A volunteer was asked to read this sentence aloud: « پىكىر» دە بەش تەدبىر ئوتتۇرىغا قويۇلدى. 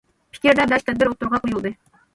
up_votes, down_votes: 2, 0